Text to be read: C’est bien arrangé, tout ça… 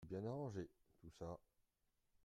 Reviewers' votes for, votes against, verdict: 0, 2, rejected